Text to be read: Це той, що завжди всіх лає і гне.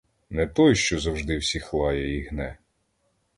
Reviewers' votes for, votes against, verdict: 1, 2, rejected